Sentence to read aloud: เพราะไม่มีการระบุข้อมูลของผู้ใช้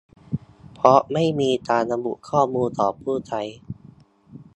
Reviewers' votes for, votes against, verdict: 2, 0, accepted